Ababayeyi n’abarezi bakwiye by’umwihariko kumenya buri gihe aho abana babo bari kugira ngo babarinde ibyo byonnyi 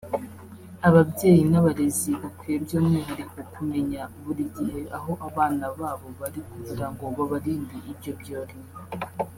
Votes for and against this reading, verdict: 0, 2, rejected